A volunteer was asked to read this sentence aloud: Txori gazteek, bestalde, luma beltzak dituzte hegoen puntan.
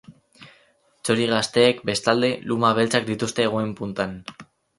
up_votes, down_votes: 2, 2